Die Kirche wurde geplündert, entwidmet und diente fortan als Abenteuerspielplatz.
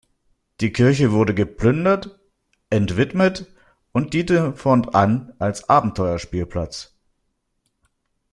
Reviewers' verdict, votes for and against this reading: rejected, 1, 2